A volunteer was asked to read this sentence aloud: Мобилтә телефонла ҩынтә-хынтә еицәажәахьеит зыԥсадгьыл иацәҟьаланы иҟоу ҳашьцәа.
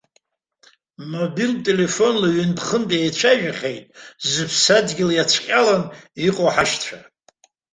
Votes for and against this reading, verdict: 2, 0, accepted